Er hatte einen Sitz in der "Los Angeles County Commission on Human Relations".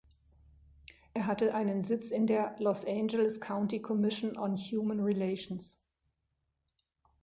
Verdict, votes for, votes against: accepted, 2, 0